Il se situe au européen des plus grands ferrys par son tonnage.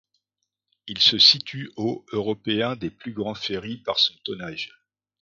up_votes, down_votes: 2, 0